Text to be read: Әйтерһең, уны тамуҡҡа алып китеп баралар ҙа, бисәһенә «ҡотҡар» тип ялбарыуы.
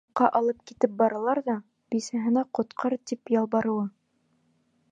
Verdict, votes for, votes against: rejected, 1, 2